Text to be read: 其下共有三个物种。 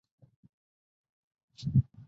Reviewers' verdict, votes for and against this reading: rejected, 0, 4